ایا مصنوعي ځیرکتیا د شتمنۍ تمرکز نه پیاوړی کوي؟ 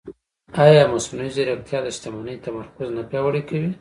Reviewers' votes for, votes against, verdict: 2, 1, accepted